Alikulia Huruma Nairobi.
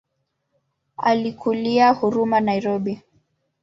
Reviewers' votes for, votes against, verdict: 2, 0, accepted